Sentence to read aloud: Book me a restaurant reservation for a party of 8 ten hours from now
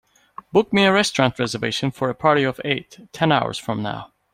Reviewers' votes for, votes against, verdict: 0, 2, rejected